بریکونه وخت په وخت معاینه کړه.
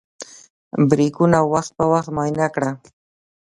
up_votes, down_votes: 0, 2